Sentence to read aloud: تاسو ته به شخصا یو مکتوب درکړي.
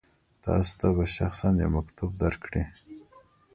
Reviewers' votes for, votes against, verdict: 1, 2, rejected